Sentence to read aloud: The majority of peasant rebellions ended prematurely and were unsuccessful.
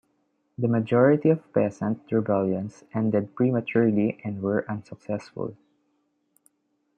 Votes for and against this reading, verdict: 2, 1, accepted